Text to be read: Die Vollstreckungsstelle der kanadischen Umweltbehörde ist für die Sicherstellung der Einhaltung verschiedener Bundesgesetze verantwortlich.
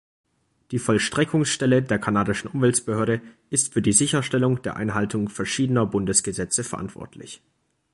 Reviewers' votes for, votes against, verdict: 1, 2, rejected